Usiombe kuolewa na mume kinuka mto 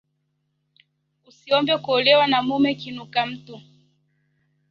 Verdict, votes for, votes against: rejected, 1, 2